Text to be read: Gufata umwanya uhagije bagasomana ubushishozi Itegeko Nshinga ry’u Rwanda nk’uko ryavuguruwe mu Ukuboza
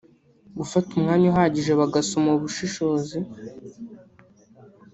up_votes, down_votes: 1, 3